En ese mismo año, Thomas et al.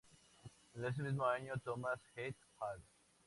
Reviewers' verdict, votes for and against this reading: accepted, 2, 0